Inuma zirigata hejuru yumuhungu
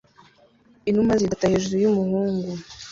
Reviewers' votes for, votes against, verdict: 1, 2, rejected